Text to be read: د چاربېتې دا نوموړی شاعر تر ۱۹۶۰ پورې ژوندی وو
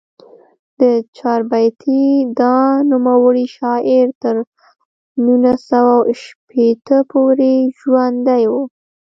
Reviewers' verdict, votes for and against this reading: rejected, 0, 2